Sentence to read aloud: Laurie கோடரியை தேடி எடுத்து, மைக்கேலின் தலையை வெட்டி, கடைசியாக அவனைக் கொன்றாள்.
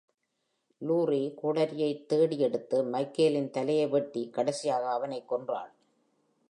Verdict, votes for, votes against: accepted, 2, 0